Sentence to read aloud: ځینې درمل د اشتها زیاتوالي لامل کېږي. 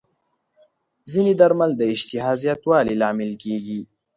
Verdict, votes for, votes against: accepted, 2, 0